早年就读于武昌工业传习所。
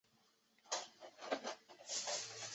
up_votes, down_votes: 0, 2